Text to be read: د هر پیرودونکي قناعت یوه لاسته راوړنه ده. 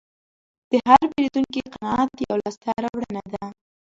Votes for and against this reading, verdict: 1, 2, rejected